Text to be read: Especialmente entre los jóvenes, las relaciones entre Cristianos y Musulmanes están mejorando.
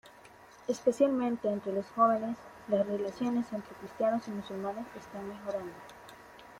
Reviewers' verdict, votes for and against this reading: rejected, 1, 2